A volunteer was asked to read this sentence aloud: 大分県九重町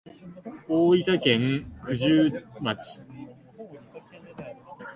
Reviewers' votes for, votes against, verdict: 0, 2, rejected